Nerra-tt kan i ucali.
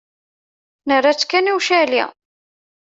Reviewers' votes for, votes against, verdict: 2, 0, accepted